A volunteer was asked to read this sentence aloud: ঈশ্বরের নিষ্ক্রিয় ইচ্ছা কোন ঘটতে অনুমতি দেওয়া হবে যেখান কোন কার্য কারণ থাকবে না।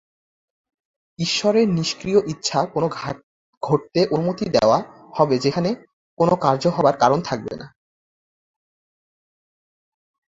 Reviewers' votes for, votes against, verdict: 1, 2, rejected